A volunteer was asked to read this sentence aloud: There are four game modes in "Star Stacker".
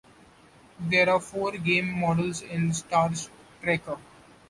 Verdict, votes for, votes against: rejected, 0, 2